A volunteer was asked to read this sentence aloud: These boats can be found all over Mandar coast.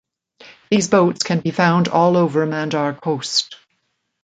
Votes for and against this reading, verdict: 2, 0, accepted